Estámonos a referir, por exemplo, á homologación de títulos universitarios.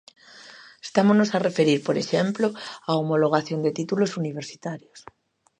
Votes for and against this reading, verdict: 2, 0, accepted